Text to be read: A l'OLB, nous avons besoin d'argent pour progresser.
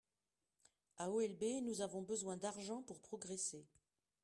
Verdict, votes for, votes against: rejected, 1, 2